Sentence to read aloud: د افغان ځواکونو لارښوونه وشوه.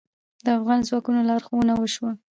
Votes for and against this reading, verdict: 2, 0, accepted